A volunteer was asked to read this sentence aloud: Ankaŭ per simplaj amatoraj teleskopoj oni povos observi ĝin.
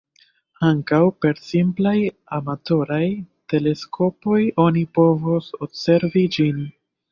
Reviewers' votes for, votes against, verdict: 2, 1, accepted